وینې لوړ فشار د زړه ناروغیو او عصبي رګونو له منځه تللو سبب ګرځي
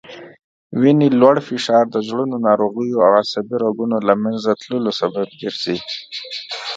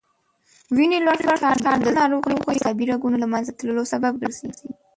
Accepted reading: first